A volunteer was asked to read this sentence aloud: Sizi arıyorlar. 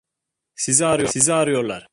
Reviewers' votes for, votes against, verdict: 0, 2, rejected